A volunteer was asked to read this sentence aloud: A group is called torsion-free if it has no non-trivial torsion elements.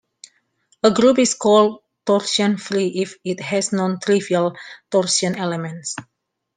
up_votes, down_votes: 2, 1